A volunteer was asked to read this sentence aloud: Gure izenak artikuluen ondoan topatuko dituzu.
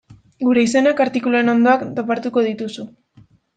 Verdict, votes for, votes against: rejected, 1, 2